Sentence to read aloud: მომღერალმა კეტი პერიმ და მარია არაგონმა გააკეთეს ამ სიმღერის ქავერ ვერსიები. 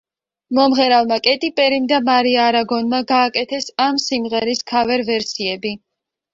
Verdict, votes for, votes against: accepted, 2, 0